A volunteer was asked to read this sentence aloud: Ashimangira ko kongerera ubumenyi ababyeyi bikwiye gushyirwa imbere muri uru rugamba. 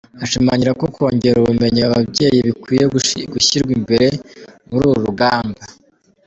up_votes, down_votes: 1, 4